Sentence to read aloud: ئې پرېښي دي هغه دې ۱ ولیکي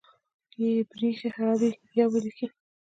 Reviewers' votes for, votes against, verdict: 0, 2, rejected